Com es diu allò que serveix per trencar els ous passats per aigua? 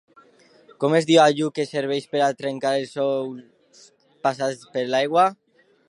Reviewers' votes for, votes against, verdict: 0, 2, rejected